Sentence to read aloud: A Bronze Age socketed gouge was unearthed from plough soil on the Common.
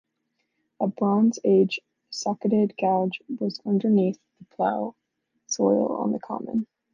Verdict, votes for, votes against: rejected, 1, 2